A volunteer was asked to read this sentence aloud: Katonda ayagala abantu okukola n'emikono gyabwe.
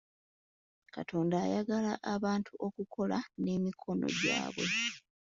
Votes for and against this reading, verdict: 2, 0, accepted